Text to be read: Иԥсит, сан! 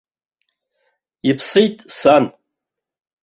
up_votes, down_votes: 2, 0